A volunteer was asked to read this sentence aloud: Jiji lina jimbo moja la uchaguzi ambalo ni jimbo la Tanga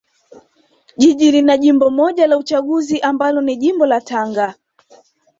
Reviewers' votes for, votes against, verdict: 2, 0, accepted